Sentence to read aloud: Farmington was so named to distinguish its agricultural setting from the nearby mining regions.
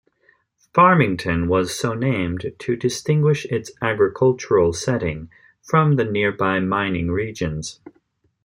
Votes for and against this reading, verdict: 2, 0, accepted